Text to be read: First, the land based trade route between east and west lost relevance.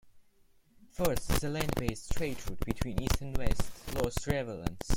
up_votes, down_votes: 0, 2